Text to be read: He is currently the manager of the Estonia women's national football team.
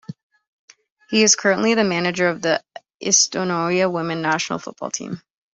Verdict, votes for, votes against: rejected, 0, 2